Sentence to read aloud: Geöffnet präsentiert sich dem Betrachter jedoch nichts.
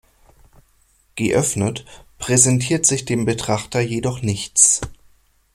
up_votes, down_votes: 2, 0